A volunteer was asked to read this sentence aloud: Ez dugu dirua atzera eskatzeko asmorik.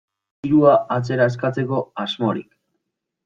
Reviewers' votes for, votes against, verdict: 1, 2, rejected